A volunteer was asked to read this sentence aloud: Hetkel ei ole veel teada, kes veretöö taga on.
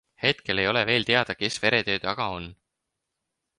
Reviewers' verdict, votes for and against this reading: accepted, 4, 0